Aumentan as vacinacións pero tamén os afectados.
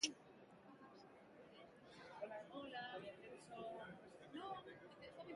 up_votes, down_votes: 0, 2